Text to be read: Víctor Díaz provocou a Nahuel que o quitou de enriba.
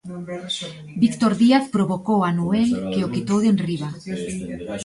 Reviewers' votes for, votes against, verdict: 1, 2, rejected